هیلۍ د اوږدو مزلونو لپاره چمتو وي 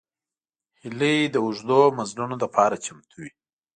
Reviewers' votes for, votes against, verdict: 2, 0, accepted